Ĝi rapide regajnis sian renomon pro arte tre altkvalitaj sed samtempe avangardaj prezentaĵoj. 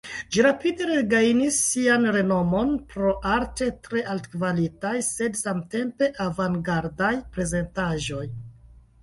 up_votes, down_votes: 2, 0